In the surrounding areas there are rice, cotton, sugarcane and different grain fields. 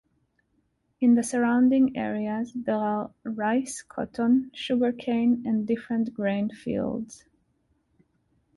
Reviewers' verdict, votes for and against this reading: rejected, 1, 2